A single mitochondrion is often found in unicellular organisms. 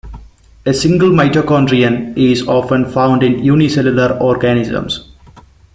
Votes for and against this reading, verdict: 1, 2, rejected